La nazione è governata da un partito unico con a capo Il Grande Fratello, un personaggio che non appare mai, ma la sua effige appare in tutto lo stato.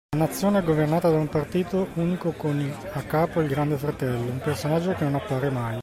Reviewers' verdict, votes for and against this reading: rejected, 0, 2